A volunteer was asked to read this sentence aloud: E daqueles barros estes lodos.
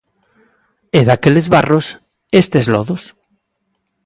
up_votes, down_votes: 2, 0